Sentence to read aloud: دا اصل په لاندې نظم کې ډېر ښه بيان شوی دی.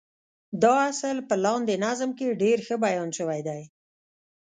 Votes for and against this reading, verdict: 1, 2, rejected